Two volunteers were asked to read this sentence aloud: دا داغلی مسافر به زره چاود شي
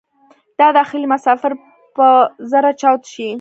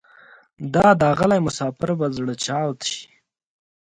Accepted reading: second